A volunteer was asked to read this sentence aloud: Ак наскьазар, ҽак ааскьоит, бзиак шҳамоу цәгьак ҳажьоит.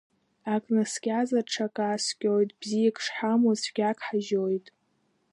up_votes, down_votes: 2, 0